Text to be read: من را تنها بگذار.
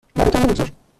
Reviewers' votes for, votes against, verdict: 1, 2, rejected